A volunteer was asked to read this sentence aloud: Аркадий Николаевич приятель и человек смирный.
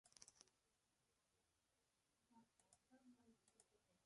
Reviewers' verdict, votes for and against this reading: rejected, 0, 2